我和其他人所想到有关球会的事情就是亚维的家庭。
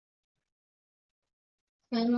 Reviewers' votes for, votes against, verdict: 0, 2, rejected